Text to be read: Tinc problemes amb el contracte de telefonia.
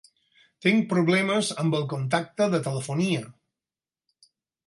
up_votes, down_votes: 0, 4